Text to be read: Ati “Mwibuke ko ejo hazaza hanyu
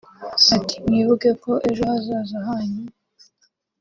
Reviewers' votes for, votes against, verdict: 2, 0, accepted